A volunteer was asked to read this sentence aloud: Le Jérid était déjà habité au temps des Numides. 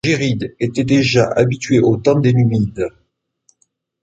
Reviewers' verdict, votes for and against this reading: rejected, 1, 2